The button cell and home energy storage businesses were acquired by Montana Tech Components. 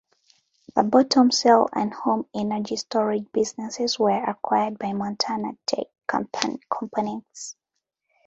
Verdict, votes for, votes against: rejected, 1, 2